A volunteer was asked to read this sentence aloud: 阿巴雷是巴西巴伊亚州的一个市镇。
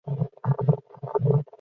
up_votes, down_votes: 0, 2